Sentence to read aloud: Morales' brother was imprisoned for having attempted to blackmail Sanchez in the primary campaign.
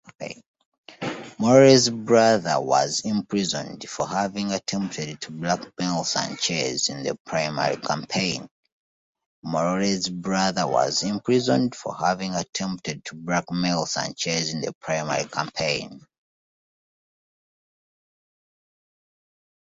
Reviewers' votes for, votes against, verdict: 1, 2, rejected